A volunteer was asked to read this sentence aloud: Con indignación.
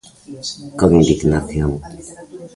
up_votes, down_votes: 0, 2